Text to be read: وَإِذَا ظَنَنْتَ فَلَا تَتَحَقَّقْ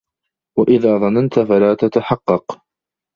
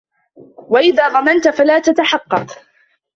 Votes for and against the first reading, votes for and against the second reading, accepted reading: 2, 0, 1, 2, first